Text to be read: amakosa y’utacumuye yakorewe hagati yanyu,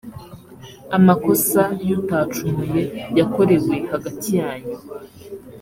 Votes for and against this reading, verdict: 2, 0, accepted